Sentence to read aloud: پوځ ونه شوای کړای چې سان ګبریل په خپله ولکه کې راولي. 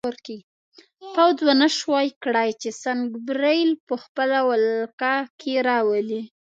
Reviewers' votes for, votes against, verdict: 1, 2, rejected